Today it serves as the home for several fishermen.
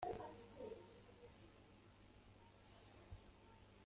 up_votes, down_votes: 0, 2